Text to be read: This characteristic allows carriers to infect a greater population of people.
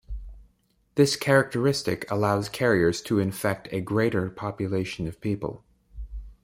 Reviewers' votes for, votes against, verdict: 2, 0, accepted